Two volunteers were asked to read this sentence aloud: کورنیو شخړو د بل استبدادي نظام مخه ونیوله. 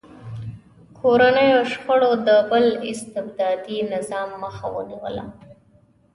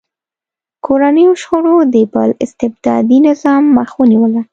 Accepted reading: first